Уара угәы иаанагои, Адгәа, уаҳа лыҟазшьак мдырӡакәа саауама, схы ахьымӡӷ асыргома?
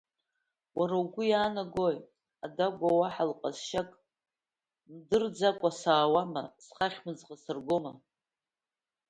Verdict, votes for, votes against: rejected, 0, 2